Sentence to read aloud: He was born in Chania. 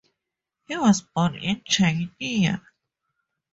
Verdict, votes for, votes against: accepted, 2, 0